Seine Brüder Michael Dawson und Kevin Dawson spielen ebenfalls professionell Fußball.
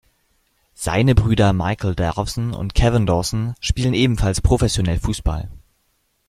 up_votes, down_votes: 0, 2